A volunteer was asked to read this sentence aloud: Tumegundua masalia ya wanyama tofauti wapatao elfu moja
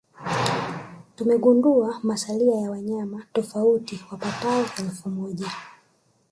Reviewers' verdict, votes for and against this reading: rejected, 1, 2